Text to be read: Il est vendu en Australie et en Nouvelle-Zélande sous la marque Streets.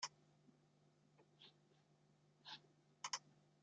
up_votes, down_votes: 0, 2